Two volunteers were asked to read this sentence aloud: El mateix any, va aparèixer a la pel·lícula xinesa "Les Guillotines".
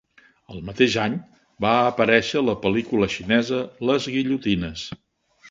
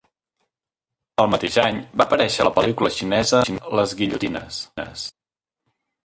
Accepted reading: first